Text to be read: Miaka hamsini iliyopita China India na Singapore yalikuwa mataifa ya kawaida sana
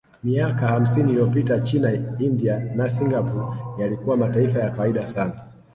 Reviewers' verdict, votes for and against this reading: accepted, 4, 0